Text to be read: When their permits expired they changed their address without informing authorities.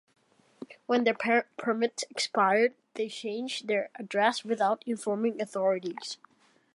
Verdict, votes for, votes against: rejected, 1, 2